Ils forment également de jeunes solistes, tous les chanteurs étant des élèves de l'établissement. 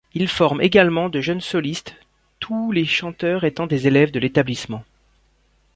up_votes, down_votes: 3, 0